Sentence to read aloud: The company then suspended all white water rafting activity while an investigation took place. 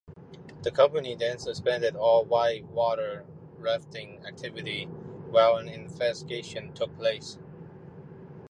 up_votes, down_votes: 1, 2